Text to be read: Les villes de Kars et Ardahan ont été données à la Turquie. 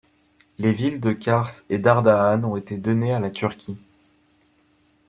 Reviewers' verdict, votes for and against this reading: rejected, 1, 2